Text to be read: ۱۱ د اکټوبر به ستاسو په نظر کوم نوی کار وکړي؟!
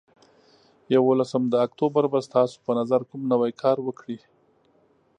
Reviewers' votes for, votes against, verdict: 0, 2, rejected